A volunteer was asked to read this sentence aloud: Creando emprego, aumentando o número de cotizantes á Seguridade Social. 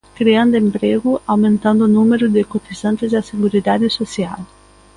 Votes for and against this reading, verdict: 2, 0, accepted